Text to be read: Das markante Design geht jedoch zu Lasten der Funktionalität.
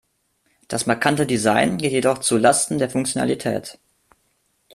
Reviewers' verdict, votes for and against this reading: rejected, 1, 2